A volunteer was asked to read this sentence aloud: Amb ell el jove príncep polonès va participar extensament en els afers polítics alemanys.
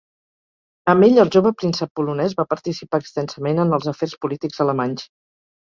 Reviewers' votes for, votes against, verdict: 2, 0, accepted